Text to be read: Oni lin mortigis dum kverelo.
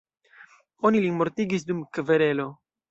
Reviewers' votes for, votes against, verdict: 2, 0, accepted